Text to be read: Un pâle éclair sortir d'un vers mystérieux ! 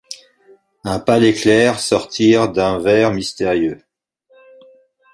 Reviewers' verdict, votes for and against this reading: accepted, 3, 0